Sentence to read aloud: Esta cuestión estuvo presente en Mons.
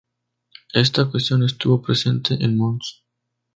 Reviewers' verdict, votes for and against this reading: accepted, 2, 0